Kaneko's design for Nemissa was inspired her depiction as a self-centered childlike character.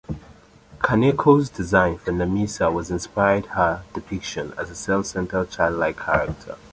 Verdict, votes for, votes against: accepted, 3, 0